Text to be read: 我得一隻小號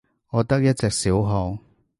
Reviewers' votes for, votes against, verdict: 2, 0, accepted